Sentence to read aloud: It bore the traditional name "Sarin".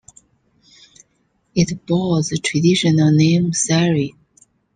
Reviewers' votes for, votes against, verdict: 2, 0, accepted